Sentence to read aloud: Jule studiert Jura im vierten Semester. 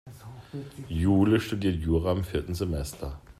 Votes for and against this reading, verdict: 2, 0, accepted